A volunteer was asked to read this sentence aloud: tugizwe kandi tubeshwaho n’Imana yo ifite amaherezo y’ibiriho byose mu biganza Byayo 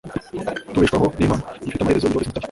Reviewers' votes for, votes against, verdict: 0, 2, rejected